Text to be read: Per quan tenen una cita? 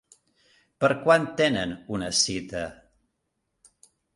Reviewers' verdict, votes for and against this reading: accepted, 3, 0